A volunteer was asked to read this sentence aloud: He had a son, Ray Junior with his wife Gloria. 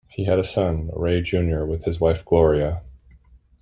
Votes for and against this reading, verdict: 2, 0, accepted